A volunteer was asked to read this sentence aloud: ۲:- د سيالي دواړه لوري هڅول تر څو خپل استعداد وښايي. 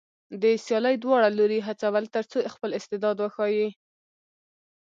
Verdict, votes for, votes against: rejected, 0, 2